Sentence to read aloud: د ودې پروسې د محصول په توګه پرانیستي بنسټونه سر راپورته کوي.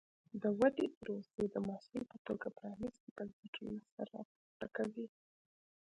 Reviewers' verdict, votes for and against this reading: rejected, 1, 2